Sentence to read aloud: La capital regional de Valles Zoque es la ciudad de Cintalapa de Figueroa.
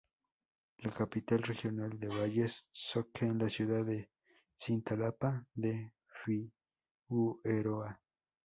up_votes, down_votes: 0, 2